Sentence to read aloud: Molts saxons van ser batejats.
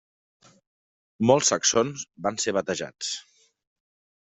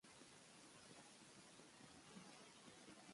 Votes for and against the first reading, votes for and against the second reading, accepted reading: 3, 0, 0, 2, first